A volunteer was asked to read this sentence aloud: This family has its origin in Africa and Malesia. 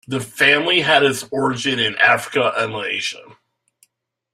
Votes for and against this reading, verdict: 0, 2, rejected